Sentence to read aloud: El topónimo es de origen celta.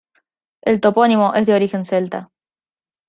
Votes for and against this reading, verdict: 2, 0, accepted